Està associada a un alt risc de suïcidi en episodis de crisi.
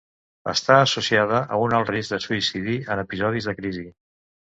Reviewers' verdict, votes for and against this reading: accepted, 2, 0